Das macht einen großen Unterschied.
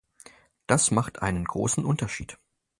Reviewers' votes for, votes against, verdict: 4, 0, accepted